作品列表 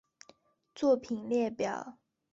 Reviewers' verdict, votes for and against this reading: accepted, 2, 0